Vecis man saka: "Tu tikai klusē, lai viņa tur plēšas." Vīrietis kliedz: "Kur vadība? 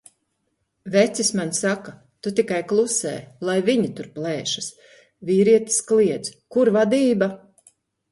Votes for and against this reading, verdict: 2, 0, accepted